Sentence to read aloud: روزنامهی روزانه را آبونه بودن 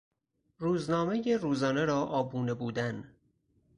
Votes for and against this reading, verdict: 4, 0, accepted